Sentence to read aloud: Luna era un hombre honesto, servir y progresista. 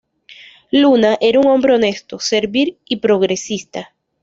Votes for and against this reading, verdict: 1, 2, rejected